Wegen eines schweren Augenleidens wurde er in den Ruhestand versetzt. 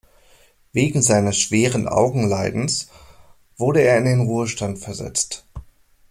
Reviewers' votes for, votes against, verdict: 0, 2, rejected